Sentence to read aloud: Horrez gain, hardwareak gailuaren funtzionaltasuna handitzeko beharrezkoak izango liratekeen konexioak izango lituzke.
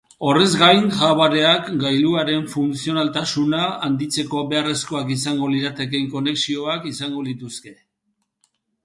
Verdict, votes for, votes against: accepted, 3, 0